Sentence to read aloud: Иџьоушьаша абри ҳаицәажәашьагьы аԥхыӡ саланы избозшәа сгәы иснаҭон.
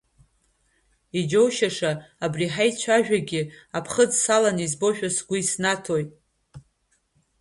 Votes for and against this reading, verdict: 1, 2, rejected